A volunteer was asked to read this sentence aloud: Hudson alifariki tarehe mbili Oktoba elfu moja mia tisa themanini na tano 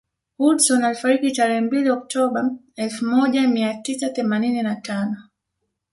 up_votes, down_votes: 2, 0